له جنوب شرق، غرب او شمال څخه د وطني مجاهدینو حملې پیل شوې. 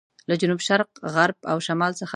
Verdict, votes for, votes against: rejected, 0, 2